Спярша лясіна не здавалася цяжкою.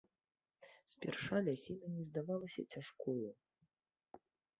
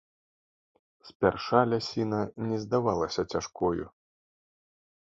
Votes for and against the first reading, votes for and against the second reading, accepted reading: 1, 2, 2, 0, second